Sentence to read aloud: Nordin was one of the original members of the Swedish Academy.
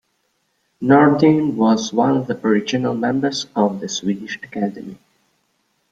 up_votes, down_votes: 2, 1